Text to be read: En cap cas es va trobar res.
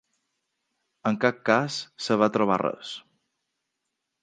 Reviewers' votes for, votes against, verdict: 0, 2, rejected